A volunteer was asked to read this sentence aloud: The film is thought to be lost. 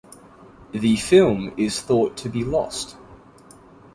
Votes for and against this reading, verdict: 2, 0, accepted